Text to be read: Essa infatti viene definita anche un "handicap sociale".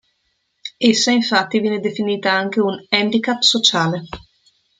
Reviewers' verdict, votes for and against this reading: accepted, 2, 0